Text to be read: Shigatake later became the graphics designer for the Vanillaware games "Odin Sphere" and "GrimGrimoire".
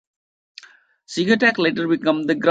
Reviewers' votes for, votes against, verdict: 0, 2, rejected